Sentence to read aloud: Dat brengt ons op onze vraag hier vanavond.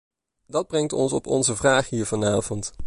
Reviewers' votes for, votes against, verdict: 2, 1, accepted